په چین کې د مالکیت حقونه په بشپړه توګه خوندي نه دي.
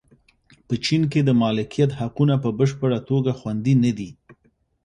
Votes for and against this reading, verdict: 2, 0, accepted